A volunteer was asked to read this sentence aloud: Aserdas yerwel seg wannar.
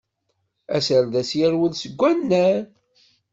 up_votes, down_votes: 2, 0